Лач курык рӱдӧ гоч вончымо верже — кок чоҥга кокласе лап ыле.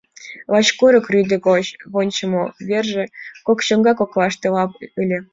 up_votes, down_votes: 1, 2